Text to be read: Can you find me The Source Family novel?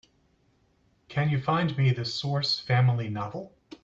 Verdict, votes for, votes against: accepted, 2, 0